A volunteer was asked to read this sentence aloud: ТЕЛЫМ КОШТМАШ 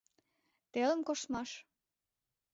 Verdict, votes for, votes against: accepted, 2, 0